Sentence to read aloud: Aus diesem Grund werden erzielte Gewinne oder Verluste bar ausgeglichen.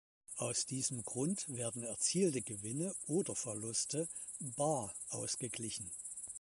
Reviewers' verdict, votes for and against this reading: rejected, 2, 3